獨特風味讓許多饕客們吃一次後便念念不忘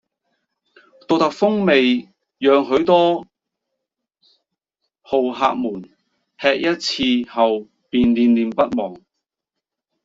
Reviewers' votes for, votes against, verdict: 1, 3, rejected